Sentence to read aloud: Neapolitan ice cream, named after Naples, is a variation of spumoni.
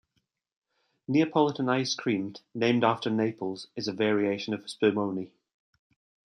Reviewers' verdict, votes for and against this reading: accepted, 2, 1